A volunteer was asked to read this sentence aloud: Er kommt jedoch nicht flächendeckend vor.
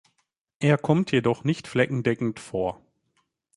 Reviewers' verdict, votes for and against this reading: rejected, 1, 2